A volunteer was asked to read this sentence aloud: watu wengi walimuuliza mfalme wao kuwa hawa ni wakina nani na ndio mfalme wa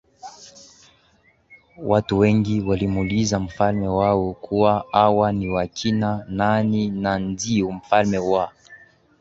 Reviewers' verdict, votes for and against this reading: accepted, 16, 2